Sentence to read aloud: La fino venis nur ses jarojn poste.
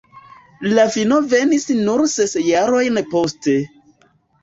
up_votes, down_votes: 2, 0